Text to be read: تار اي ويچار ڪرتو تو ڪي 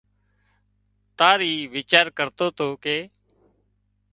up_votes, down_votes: 2, 0